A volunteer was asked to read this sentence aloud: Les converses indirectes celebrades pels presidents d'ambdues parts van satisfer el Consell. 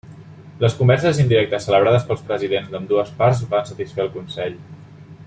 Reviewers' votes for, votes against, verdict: 2, 0, accepted